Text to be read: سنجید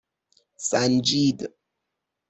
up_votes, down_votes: 6, 0